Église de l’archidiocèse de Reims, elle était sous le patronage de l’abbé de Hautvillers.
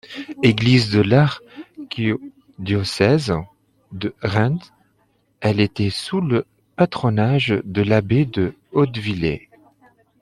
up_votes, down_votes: 1, 2